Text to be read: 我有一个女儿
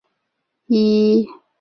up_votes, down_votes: 1, 5